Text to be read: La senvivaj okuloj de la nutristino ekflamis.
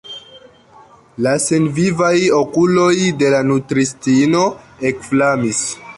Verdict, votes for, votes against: rejected, 1, 2